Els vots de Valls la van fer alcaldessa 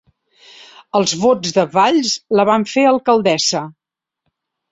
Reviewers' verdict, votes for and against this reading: accepted, 3, 0